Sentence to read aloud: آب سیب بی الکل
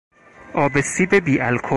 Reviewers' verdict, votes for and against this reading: rejected, 0, 4